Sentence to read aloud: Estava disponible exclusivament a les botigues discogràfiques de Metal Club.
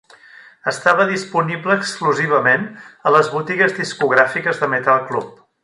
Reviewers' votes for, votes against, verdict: 1, 2, rejected